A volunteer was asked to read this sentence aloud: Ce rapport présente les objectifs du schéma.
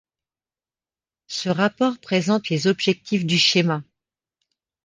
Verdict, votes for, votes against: accepted, 2, 0